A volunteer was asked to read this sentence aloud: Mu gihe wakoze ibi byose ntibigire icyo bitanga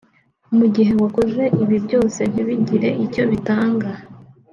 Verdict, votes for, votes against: accepted, 2, 0